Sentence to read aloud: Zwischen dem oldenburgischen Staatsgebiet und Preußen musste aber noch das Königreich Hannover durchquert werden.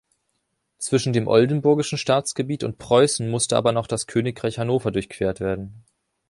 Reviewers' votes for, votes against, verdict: 2, 0, accepted